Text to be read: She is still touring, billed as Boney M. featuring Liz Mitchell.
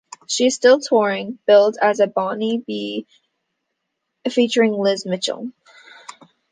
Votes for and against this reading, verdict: 0, 2, rejected